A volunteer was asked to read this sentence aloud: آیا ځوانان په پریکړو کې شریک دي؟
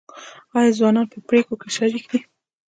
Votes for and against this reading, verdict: 2, 0, accepted